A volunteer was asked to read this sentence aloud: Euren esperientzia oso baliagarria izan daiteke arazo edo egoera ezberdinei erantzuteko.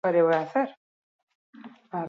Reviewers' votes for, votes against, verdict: 0, 2, rejected